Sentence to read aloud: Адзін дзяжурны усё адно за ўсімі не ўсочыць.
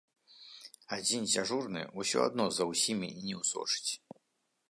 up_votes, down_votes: 2, 0